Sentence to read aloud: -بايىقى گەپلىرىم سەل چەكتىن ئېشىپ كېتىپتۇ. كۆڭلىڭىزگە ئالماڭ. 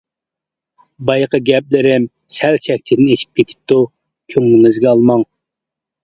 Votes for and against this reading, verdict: 2, 0, accepted